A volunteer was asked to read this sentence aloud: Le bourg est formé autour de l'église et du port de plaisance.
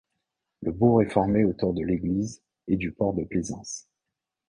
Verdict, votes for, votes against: accepted, 2, 0